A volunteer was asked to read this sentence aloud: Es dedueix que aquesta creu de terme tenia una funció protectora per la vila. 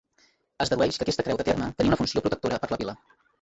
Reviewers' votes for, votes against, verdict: 1, 3, rejected